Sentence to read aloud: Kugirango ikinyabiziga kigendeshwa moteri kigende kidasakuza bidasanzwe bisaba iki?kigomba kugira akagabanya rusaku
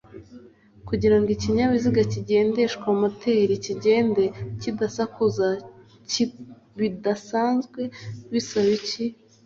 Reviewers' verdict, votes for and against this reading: rejected, 0, 2